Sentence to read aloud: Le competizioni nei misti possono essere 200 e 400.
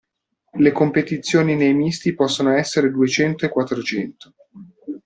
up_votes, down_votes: 0, 2